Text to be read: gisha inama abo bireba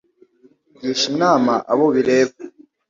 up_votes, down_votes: 2, 0